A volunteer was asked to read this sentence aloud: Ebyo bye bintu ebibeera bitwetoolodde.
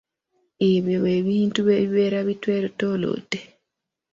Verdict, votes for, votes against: accepted, 2, 0